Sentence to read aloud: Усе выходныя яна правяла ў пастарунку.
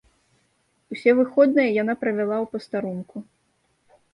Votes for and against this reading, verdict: 2, 0, accepted